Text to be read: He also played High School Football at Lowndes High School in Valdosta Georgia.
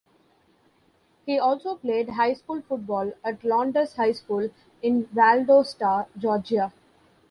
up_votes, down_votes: 2, 0